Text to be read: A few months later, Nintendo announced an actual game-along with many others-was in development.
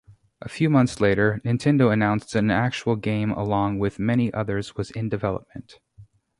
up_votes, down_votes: 0, 2